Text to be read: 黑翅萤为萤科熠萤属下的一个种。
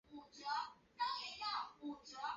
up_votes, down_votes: 0, 3